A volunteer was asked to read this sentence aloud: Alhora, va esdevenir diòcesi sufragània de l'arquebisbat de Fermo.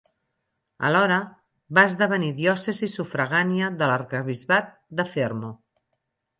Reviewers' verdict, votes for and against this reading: accepted, 6, 0